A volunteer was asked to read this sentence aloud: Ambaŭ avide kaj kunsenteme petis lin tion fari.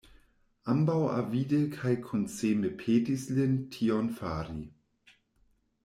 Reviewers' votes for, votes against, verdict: 0, 2, rejected